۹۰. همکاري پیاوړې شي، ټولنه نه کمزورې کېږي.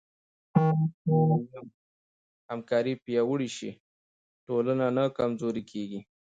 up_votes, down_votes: 0, 2